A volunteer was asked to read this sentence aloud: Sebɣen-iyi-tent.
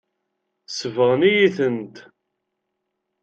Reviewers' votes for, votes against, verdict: 2, 0, accepted